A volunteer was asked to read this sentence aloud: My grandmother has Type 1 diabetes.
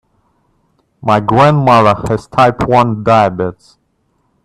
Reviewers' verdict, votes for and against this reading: rejected, 0, 2